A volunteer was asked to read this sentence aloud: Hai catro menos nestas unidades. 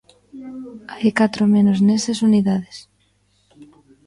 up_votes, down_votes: 0, 2